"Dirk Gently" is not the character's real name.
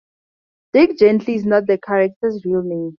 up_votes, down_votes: 4, 0